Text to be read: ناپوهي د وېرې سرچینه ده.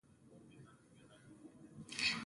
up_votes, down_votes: 0, 2